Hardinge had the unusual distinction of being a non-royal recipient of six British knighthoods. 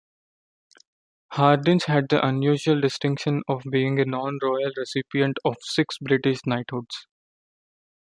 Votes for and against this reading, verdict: 1, 2, rejected